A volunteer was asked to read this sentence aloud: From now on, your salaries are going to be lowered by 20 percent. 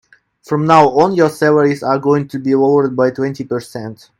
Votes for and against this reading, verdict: 0, 2, rejected